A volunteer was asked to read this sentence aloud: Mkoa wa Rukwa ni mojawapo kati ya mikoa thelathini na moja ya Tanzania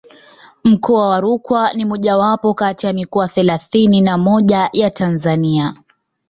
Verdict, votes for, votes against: accepted, 2, 0